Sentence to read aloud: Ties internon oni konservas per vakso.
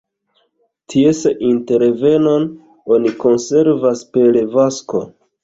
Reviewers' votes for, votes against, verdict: 1, 2, rejected